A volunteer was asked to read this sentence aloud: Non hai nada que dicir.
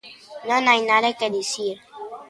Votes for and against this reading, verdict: 3, 2, accepted